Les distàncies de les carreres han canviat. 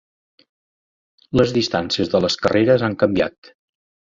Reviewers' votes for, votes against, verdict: 3, 0, accepted